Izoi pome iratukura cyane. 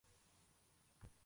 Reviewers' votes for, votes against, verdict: 0, 2, rejected